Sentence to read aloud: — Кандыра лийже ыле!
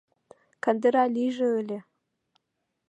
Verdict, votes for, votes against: accepted, 2, 0